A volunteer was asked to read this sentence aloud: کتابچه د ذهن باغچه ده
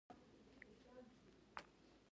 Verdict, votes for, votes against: rejected, 0, 2